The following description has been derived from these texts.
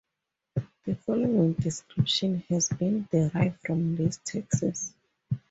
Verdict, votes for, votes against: accepted, 2, 0